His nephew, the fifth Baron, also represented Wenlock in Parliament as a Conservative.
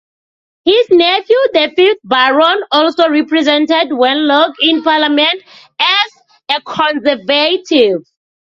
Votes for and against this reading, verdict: 0, 2, rejected